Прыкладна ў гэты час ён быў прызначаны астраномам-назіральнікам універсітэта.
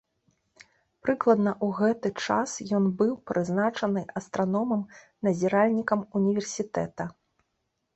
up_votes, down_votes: 2, 0